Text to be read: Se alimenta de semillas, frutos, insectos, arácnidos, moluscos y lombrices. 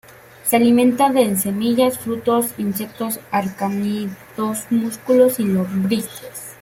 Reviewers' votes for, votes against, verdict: 0, 2, rejected